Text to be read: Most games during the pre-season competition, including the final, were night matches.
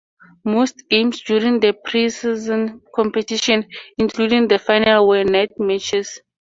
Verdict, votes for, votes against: accepted, 4, 0